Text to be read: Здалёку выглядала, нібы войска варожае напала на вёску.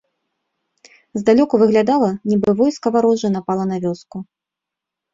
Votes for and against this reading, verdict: 2, 0, accepted